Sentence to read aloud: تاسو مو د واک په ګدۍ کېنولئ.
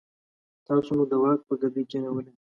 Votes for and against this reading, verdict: 2, 0, accepted